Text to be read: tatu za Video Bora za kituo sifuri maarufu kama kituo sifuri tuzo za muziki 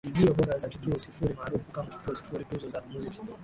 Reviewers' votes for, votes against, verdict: 0, 5, rejected